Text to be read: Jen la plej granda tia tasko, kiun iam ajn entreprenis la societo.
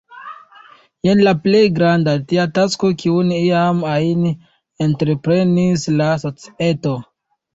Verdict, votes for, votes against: rejected, 1, 2